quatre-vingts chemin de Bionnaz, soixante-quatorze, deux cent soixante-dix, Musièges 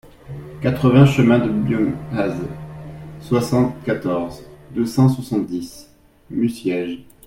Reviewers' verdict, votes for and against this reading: rejected, 0, 2